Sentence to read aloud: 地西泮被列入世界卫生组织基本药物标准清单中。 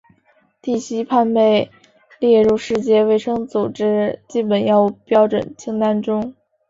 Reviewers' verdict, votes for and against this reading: accepted, 3, 2